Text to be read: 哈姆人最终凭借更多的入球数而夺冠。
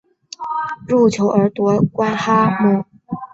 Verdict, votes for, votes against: rejected, 0, 2